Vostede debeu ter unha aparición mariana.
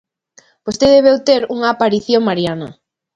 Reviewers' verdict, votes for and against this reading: rejected, 1, 2